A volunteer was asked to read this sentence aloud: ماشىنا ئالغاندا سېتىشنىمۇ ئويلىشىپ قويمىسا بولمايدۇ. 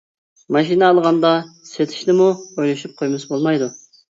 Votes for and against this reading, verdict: 2, 0, accepted